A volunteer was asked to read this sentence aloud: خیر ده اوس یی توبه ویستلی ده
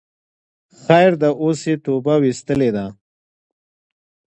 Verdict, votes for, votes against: accepted, 2, 0